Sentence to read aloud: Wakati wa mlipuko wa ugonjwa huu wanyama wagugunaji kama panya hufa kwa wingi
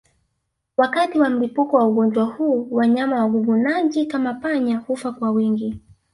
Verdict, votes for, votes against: rejected, 1, 2